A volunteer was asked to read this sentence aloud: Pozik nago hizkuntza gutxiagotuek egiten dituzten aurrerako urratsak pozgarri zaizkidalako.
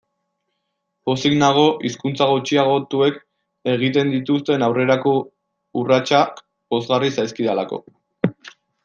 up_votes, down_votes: 2, 1